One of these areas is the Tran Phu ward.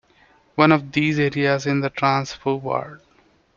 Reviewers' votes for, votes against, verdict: 1, 2, rejected